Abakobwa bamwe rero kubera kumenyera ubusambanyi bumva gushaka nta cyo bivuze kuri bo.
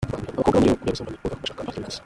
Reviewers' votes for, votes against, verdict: 0, 2, rejected